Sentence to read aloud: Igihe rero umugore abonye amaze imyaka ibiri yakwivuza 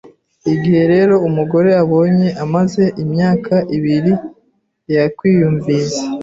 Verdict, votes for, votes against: rejected, 0, 2